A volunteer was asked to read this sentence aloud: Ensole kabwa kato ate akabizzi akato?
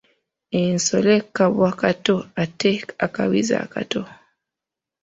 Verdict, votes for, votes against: accepted, 3, 1